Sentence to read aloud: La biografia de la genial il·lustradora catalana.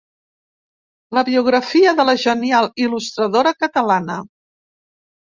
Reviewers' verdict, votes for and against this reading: accepted, 2, 0